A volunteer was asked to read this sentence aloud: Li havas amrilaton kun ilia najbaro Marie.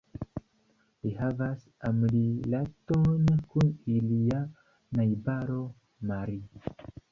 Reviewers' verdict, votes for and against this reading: accepted, 2, 0